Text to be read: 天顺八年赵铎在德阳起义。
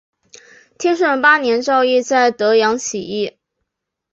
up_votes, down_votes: 2, 1